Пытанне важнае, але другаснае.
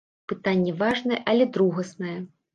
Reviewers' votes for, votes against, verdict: 2, 0, accepted